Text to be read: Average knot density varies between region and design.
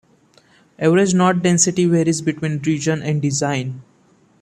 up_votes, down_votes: 2, 0